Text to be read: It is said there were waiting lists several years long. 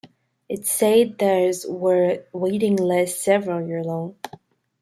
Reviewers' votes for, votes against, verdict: 1, 2, rejected